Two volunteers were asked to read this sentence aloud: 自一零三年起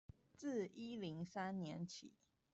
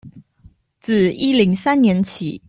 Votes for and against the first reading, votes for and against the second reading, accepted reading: 1, 2, 2, 0, second